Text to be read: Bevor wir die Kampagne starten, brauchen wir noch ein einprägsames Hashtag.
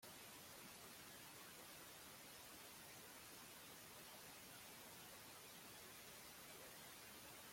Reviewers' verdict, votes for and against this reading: rejected, 0, 2